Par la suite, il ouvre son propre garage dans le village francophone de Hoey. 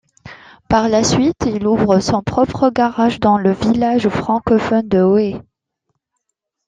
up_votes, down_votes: 2, 0